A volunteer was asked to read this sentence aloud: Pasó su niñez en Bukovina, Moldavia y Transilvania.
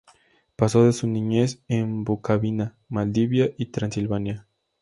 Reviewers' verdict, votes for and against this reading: accepted, 2, 0